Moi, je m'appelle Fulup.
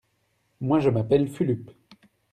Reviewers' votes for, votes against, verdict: 2, 0, accepted